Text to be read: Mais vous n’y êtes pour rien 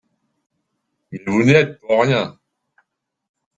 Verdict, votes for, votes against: rejected, 0, 2